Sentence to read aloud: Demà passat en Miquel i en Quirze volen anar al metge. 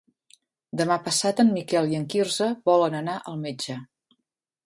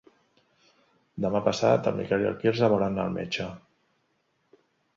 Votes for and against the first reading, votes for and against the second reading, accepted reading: 4, 0, 0, 2, first